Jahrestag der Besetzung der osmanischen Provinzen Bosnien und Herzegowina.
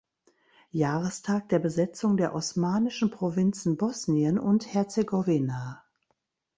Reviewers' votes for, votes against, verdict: 2, 0, accepted